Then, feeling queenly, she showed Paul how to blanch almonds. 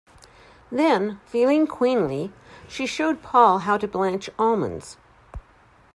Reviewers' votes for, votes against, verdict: 2, 0, accepted